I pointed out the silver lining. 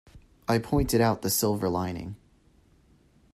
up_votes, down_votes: 2, 0